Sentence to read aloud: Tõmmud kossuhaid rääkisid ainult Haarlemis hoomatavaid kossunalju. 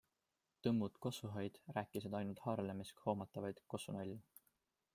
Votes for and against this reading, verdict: 2, 0, accepted